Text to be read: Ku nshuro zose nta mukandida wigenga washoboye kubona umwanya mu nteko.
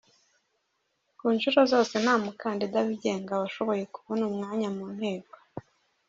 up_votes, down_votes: 1, 2